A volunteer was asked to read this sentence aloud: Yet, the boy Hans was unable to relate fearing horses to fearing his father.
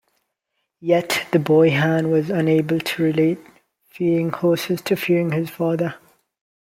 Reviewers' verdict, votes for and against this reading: accepted, 2, 1